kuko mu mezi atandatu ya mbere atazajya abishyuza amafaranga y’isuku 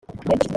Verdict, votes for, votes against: rejected, 0, 2